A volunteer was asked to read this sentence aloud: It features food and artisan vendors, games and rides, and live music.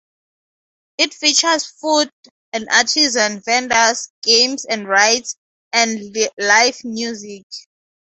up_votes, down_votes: 4, 0